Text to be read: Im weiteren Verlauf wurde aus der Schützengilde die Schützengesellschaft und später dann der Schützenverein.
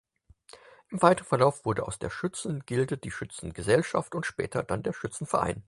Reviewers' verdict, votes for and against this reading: accepted, 4, 0